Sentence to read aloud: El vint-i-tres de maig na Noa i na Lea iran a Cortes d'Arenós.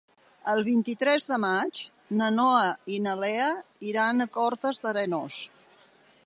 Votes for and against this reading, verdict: 3, 0, accepted